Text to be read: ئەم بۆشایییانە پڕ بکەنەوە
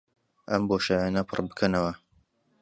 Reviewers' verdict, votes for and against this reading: accepted, 2, 0